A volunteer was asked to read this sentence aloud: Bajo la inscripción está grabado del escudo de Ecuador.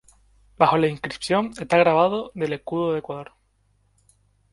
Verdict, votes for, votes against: accepted, 2, 0